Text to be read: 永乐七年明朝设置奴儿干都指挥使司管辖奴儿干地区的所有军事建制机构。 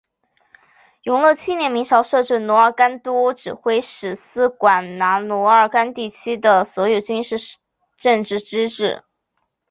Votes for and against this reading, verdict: 3, 1, accepted